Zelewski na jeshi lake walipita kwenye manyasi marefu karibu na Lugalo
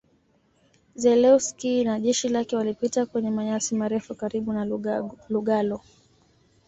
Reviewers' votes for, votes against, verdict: 2, 0, accepted